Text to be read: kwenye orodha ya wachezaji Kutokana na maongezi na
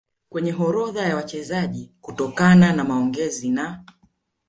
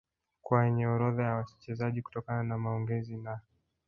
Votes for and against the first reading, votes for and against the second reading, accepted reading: 3, 1, 2, 3, first